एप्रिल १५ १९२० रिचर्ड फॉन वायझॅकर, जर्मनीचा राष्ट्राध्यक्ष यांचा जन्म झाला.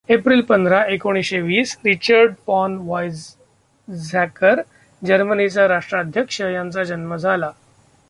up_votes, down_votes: 0, 2